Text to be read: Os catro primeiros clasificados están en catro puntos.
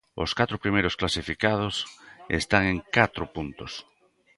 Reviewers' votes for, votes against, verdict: 2, 0, accepted